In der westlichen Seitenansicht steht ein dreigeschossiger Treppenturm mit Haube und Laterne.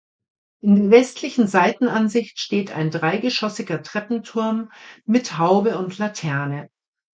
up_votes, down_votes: 1, 2